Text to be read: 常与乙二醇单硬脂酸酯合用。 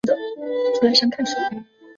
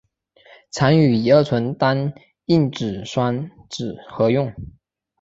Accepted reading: second